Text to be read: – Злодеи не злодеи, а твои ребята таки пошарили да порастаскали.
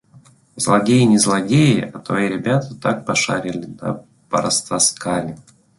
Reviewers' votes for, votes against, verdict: 0, 2, rejected